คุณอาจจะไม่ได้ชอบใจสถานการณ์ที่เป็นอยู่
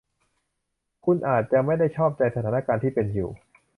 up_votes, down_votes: 2, 0